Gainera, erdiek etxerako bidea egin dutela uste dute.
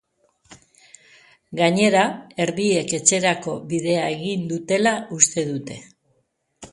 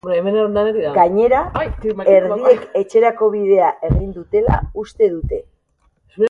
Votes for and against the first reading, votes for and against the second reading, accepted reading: 2, 0, 0, 2, first